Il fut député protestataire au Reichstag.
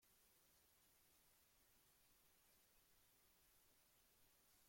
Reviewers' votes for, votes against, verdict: 0, 2, rejected